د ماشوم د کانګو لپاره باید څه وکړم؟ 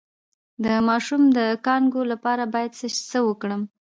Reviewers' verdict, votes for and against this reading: accepted, 2, 0